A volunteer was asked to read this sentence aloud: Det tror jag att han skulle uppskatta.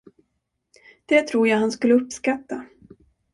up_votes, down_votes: 1, 2